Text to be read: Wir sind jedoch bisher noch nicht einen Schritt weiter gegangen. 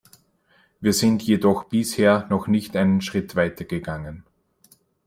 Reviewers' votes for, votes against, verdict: 2, 0, accepted